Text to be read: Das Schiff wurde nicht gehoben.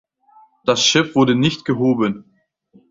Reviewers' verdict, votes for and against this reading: accepted, 2, 1